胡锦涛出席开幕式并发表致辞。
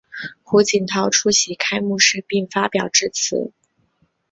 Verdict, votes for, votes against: accepted, 2, 0